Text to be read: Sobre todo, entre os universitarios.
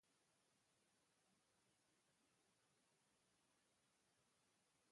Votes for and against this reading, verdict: 0, 2, rejected